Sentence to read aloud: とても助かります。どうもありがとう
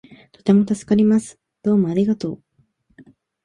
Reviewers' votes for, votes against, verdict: 2, 0, accepted